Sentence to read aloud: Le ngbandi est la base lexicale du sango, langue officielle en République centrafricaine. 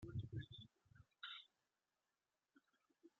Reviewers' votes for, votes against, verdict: 0, 2, rejected